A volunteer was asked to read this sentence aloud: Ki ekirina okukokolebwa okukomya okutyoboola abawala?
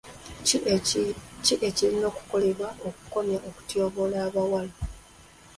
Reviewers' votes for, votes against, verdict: 0, 2, rejected